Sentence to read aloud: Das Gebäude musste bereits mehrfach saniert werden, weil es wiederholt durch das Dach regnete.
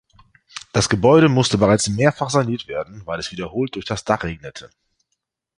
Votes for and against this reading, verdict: 2, 0, accepted